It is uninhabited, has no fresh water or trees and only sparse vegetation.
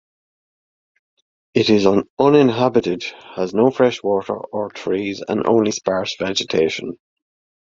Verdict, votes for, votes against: accepted, 2, 1